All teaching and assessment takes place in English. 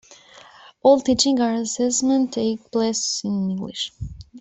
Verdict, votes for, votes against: rejected, 0, 2